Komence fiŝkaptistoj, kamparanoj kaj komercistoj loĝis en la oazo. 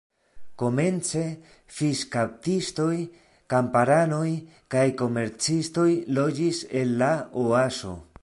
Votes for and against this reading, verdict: 1, 2, rejected